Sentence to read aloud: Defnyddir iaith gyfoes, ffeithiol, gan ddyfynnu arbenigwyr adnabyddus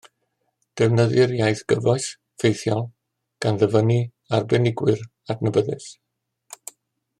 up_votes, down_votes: 2, 0